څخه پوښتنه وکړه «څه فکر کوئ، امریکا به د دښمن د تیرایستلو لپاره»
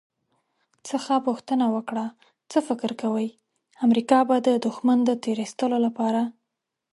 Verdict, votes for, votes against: accepted, 2, 0